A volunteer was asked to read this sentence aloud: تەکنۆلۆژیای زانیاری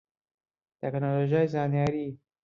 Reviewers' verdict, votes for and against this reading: accepted, 2, 1